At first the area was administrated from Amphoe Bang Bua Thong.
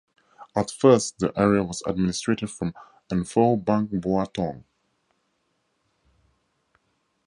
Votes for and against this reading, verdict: 0, 2, rejected